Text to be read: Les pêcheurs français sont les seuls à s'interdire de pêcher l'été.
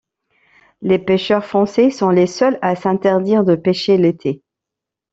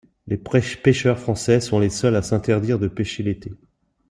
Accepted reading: first